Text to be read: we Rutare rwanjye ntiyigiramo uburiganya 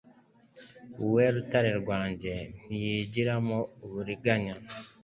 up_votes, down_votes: 2, 1